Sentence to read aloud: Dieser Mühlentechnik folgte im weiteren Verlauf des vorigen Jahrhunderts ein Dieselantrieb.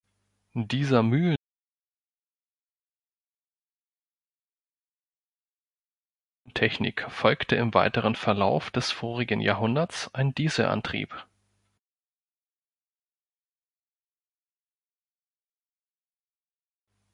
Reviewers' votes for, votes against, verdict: 0, 4, rejected